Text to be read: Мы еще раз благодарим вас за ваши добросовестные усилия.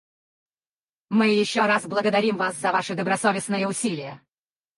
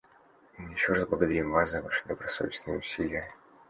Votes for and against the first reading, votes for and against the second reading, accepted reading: 2, 4, 2, 1, second